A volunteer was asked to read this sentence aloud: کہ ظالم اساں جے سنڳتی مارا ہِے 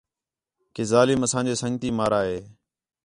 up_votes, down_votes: 4, 0